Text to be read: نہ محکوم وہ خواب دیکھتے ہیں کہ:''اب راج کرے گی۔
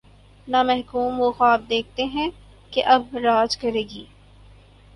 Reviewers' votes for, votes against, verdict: 2, 2, rejected